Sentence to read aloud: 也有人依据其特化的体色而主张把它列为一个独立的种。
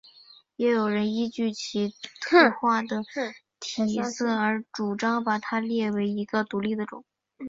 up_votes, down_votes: 2, 1